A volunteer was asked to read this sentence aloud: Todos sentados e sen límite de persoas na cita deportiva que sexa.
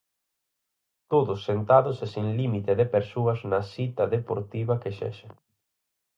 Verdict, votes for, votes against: accepted, 4, 0